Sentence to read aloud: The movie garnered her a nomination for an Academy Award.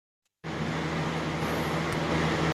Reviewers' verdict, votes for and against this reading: rejected, 0, 2